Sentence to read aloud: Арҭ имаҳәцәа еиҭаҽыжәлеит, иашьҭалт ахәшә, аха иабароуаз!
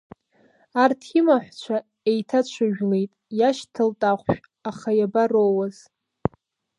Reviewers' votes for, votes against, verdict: 1, 2, rejected